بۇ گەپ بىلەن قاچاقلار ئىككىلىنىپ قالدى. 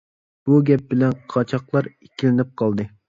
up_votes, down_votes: 2, 0